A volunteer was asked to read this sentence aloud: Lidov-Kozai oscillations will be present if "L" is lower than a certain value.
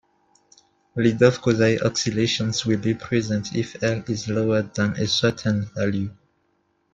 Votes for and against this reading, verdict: 1, 2, rejected